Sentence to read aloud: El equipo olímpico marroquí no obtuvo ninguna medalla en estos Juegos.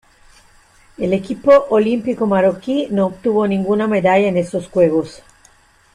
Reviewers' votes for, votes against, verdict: 1, 2, rejected